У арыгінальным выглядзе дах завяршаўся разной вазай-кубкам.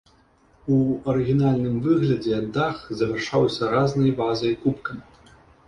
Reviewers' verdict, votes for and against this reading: rejected, 0, 2